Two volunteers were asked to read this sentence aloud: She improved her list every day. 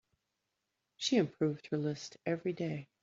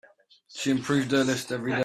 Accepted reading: first